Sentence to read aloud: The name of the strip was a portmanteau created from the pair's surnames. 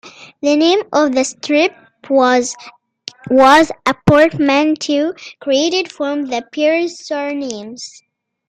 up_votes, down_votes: 0, 2